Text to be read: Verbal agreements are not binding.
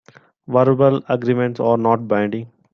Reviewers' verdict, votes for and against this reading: accepted, 2, 1